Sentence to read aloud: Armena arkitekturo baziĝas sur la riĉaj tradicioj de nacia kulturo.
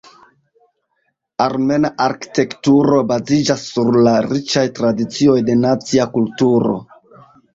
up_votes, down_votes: 0, 2